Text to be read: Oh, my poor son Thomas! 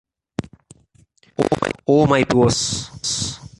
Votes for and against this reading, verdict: 0, 2, rejected